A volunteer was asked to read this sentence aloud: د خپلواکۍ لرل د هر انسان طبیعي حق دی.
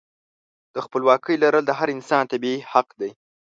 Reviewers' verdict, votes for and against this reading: accepted, 2, 0